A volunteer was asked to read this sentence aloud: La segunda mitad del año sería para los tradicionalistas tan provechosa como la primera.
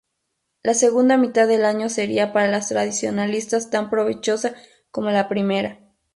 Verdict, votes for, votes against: accepted, 2, 0